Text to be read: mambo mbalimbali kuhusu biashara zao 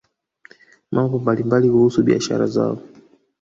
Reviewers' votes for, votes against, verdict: 1, 2, rejected